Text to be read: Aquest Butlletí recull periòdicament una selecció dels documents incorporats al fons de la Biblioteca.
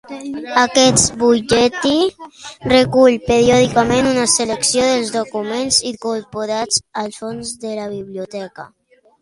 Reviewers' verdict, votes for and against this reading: accepted, 2, 0